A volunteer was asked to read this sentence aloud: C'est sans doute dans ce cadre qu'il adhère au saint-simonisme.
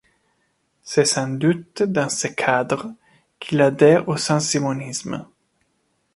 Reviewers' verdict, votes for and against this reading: accepted, 2, 0